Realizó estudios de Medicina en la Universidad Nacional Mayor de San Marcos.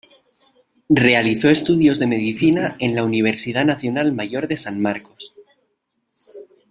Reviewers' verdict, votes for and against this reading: accepted, 2, 0